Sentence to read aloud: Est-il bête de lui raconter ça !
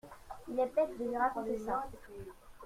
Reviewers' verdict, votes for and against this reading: rejected, 1, 2